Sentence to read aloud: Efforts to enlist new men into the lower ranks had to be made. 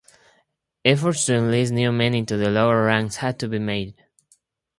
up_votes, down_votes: 2, 0